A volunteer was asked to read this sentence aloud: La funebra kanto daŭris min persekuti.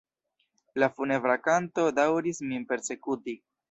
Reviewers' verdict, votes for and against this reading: rejected, 1, 2